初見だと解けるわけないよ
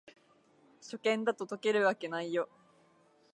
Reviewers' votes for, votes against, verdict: 2, 0, accepted